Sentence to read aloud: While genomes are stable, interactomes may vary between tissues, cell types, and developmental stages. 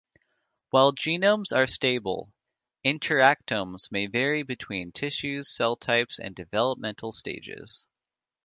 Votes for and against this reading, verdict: 1, 2, rejected